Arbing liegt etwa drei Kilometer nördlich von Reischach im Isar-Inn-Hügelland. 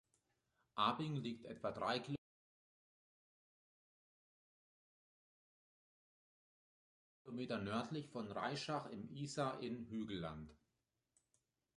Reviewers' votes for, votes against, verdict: 0, 2, rejected